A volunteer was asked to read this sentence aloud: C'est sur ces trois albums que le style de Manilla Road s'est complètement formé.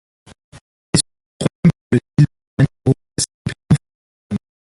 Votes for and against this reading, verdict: 0, 2, rejected